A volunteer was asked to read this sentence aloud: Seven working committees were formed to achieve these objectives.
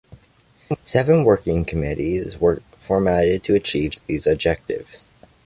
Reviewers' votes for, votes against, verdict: 2, 0, accepted